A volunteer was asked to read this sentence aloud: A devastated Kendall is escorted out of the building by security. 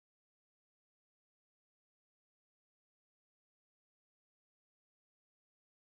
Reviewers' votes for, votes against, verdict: 0, 2, rejected